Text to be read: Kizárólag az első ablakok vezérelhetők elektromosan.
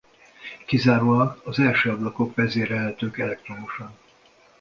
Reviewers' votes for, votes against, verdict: 2, 0, accepted